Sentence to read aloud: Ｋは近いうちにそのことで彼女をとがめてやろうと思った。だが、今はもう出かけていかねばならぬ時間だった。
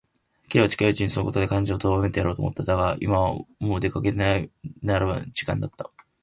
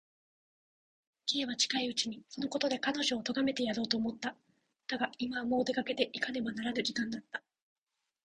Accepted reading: second